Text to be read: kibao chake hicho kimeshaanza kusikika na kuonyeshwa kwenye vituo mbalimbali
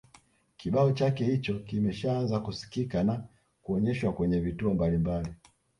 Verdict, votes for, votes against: rejected, 1, 2